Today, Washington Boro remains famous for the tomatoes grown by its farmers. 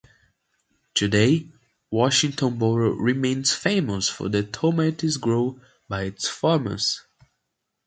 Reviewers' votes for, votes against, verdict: 2, 0, accepted